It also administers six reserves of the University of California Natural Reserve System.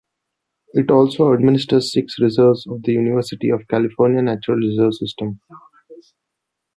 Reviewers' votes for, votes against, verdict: 2, 0, accepted